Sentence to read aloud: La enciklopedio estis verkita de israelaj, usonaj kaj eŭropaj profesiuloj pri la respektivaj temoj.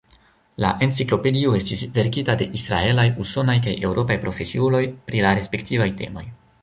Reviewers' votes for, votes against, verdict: 0, 2, rejected